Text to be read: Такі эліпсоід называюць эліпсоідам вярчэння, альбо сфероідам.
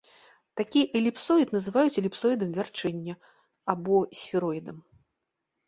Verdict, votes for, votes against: rejected, 1, 2